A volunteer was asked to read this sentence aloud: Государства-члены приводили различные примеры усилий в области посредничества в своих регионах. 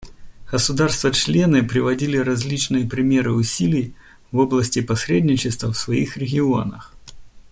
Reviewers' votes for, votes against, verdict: 2, 0, accepted